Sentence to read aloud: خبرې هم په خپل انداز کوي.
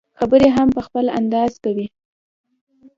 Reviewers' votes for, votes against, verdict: 2, 0, accepted